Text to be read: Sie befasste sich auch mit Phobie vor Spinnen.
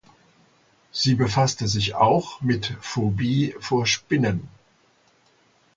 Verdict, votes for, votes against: accepted, 2, 0